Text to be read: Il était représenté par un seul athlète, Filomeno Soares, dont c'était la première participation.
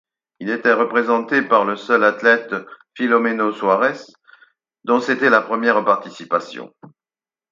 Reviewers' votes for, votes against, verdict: 2, 4, rejected